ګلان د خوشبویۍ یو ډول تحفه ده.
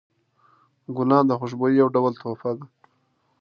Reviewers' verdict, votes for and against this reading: accepted, 2, 0